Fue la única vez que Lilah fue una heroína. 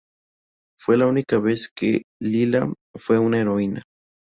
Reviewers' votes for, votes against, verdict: 2, 0, accepted